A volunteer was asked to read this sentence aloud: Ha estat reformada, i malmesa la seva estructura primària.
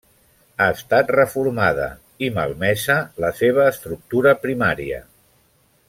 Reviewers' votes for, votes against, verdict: 0, 2, rejected